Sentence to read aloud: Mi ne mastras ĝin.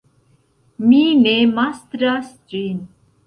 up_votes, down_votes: 2, 0